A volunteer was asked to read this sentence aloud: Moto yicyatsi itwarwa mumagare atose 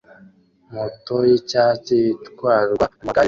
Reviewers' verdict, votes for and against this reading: rejected, 0, 2